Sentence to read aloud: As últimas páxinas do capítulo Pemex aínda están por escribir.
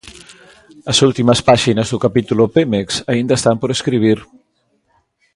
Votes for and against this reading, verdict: 2, 1, accepted